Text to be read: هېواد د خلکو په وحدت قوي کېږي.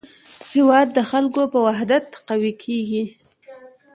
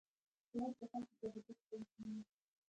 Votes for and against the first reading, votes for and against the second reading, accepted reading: 2, 0, 0, 2, first